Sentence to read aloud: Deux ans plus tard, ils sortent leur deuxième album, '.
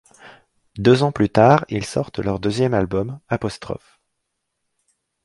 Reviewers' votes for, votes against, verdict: 1, 2, rejected